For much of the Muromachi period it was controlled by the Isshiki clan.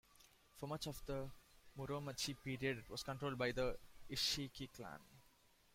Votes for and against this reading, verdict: 2, 0, accepted